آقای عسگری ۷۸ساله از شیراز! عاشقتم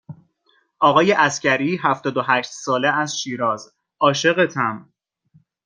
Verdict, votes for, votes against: rejected, 0, 2